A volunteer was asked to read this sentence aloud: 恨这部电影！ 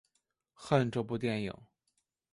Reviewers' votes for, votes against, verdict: 2, 0, accepted